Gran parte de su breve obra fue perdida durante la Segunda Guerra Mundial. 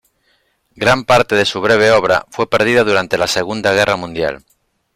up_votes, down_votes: 2, 0